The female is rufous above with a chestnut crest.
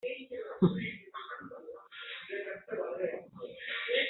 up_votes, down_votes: 0, 2